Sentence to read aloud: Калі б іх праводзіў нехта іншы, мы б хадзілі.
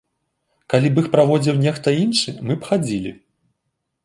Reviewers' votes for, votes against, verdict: 2, 0, accepted